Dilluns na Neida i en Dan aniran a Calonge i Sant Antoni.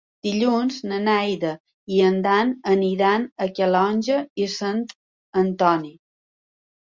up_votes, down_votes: 2, 0